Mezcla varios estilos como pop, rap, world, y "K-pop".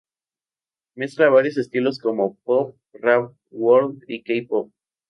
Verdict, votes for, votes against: accepted, 4, 0